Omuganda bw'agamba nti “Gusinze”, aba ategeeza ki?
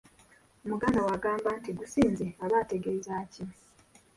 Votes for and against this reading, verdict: 1, 2, rejected